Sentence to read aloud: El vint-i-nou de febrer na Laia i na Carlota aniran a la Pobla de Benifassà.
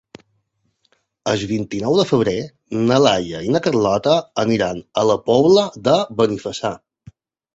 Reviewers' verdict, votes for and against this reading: rejected, 1, 2